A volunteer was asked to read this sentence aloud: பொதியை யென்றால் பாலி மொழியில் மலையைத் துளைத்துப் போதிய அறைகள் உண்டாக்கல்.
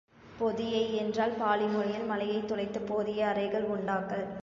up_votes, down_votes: 2, 0